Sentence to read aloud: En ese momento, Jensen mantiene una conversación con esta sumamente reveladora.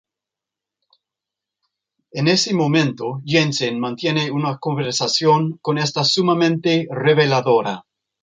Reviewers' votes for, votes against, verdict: 0, 2, rejected